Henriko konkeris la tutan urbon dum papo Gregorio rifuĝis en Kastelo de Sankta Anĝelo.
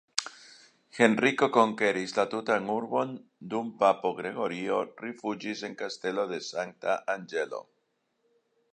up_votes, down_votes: 3, 2